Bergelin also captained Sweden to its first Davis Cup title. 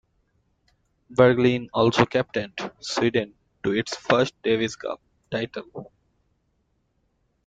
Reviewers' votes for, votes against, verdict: 2, 1, accepted